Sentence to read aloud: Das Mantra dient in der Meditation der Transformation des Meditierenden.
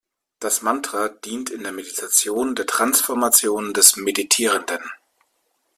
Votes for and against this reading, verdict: 2, 0, accepted